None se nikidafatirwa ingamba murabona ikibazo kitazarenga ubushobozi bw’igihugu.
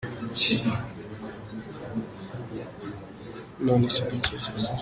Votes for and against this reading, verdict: 0, 2, rejected